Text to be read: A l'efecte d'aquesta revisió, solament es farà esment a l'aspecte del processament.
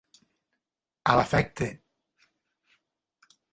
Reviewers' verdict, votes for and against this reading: rejected, 0, 3